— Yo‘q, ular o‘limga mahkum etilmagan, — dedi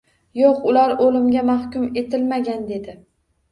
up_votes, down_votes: 2, 0